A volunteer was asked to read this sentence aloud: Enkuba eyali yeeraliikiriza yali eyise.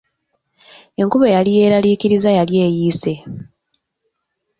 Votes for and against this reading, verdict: 1, 2, rejected